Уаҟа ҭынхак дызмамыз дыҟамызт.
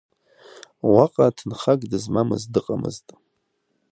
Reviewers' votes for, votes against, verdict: 0, 2, rejected